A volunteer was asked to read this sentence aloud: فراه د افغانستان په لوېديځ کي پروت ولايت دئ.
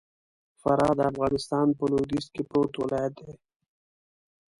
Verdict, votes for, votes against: accepted, 2, 0